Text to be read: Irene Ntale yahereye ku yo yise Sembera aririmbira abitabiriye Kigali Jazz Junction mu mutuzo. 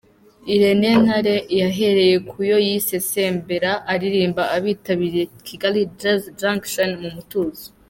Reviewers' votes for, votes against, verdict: 1, 2, rejected